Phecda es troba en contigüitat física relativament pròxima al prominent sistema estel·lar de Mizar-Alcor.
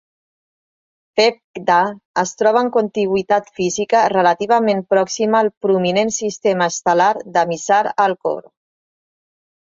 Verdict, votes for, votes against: accepted, 2, 0